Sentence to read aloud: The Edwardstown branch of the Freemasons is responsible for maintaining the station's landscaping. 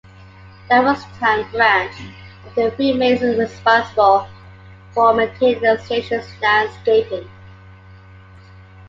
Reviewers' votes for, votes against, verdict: 0, 2, rejected